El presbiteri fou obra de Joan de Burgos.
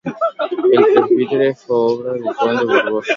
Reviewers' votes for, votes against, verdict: 0, 2, rejected